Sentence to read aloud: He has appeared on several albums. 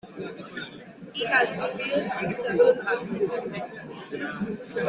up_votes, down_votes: 0, 2